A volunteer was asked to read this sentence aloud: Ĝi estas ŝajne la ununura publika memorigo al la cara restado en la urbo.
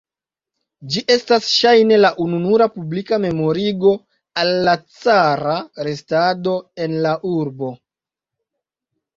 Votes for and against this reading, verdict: 2, 0, accepted